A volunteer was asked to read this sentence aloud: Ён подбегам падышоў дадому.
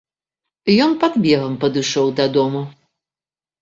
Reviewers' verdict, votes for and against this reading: rejected, 0, 2